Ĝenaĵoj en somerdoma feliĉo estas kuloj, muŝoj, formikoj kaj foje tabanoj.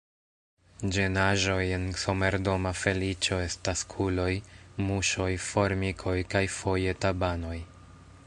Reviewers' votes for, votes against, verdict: 0, 2, rejected